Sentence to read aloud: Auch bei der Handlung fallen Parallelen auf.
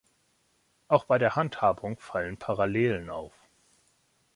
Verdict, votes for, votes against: rejected, 0, 2